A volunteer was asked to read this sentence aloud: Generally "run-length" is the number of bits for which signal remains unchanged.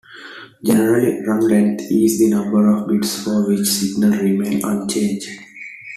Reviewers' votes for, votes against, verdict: 2, 0, accepted